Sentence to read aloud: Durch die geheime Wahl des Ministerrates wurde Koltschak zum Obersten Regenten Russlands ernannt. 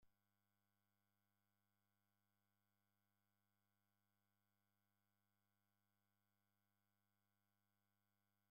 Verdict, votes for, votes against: rejected, 0, 2